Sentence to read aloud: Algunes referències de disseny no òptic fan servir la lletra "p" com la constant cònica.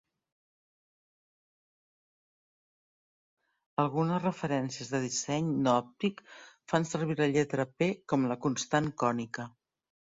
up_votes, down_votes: 0, 2